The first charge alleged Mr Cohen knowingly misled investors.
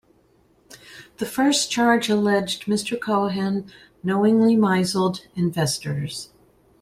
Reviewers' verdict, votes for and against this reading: rejected, 0, 2